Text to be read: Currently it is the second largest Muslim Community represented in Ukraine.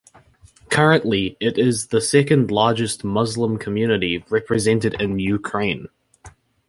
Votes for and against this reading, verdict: 2, 0, accepted